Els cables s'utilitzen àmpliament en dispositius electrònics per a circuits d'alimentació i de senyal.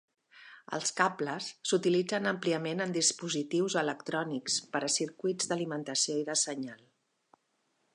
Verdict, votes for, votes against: accepted, 3, 0